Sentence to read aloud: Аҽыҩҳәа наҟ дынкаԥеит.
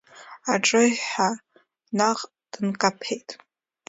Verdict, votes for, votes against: accepted, 2, 0